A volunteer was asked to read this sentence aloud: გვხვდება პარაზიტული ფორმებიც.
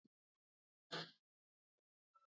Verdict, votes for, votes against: rejected, 0, 2